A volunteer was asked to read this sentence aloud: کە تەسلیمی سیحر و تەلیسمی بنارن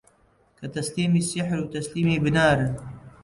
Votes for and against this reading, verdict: 1, 2, rejected